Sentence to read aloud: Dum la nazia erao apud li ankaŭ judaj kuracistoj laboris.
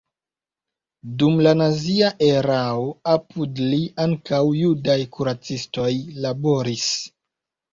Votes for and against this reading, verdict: 1, 2, rejected